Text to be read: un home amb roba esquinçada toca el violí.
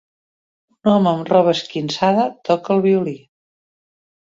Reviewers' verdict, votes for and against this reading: rejected, 0, 2